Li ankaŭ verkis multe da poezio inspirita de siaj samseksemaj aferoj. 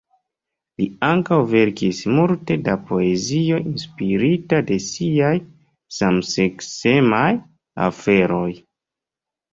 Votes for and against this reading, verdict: 1, 2, rejected